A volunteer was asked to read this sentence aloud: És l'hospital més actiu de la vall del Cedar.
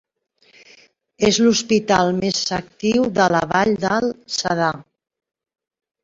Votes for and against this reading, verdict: 2, 0, accepted